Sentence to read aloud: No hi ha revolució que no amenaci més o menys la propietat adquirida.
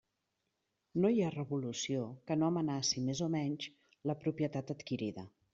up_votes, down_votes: 3, 0